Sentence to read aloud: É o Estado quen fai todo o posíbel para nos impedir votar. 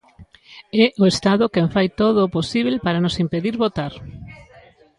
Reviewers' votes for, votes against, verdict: 1, 2, rejected